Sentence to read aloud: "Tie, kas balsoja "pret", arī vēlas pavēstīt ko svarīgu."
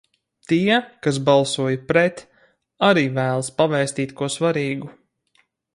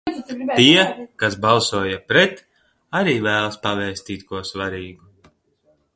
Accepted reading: first